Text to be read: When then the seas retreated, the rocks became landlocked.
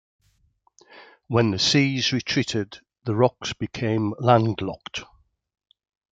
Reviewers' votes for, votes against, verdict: 2, 1, accepted